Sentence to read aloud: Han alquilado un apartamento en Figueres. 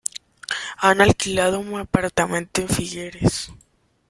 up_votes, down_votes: 2, 1